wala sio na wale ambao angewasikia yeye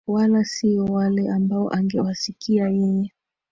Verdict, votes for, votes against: accepted, 2, 1